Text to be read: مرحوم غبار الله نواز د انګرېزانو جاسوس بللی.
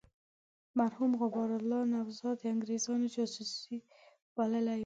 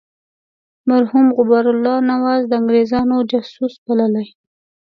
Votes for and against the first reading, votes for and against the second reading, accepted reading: 1, 2, 2, 1, second